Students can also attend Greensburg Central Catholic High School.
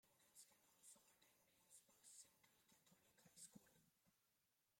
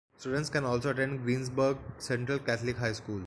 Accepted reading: second